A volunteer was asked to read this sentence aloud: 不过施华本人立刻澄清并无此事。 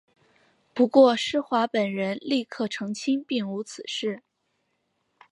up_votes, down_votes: 3, 1